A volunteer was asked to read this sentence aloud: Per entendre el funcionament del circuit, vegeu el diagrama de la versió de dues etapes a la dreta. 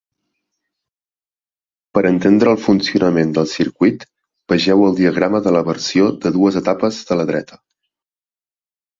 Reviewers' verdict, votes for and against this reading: rejected, 1, 2